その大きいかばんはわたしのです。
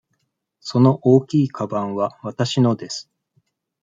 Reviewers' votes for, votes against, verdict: 2, 0, accepted